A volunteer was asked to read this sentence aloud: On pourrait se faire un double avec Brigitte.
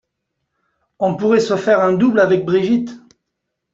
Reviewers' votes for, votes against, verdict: 2, 0, accepted